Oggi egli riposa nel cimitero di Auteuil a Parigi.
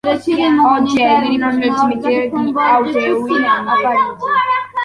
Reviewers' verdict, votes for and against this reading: rejected, 0, 2